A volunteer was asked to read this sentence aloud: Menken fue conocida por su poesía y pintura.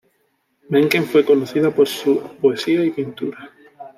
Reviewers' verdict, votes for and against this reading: accepted, 2, 0